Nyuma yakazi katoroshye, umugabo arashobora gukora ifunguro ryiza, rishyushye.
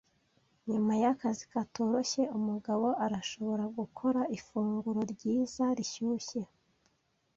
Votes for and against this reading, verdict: 2, 0, accepted